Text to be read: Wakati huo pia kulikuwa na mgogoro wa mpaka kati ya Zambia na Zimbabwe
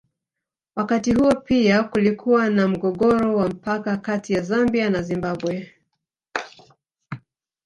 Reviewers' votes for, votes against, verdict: 0, 2, rejected